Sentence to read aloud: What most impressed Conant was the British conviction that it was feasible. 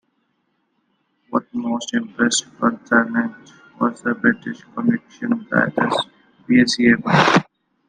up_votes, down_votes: 2, 1